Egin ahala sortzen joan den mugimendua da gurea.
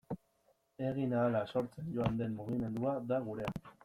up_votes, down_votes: 0, 2